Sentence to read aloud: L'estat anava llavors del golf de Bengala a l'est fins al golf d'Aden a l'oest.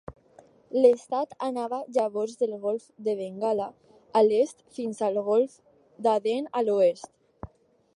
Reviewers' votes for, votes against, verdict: 2, 0, accepted